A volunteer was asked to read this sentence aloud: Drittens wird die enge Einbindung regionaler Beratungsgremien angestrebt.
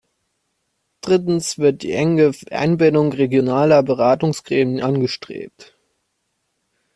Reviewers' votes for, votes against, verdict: 0, 2, rejected